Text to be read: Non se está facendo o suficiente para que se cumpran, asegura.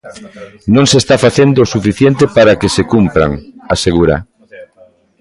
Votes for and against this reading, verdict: 1, 2, rejected